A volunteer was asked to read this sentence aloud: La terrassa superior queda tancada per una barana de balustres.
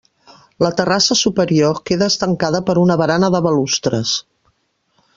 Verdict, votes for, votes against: rejected, 1, 2